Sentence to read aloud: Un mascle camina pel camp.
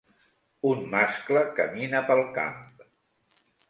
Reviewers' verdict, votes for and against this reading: accepted, 3, 0